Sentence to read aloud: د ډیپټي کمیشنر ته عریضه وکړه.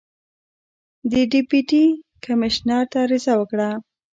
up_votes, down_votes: 0, 2